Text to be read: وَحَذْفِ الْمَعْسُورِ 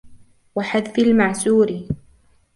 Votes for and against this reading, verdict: 2, 0, accepted